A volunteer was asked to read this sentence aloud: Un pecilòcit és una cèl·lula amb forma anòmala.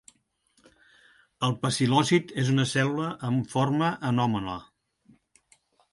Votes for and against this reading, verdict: 1, 2, rejected